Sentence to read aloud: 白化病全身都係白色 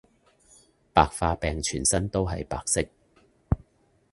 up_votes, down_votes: 1, 2